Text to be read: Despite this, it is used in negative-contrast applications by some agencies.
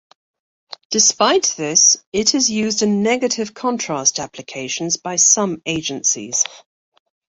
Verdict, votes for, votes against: accepted, 2, 0